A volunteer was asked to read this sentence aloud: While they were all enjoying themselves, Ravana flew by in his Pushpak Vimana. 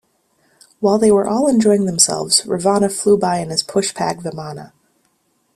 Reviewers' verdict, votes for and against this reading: accepted, 2, 1